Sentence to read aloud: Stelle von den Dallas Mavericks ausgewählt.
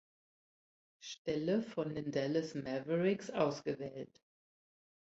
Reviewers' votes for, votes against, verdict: 1, 2, rejected